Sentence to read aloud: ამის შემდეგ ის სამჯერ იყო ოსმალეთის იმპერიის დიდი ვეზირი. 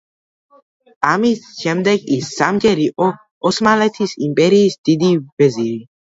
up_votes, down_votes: 2, 0